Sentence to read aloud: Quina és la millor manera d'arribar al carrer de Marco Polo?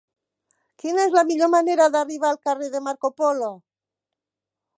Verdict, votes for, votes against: accepted, 3, 0